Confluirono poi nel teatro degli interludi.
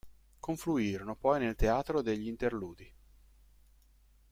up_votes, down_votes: 2, 0